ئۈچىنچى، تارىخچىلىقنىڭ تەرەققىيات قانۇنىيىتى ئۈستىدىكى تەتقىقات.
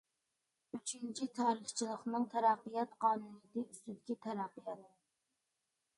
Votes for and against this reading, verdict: 1, 2, rejected